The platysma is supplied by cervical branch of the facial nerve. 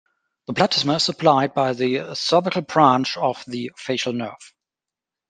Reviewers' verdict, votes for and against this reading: rejected, 1, 2